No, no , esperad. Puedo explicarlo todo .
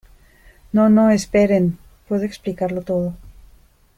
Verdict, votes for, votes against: rejected, 0, 2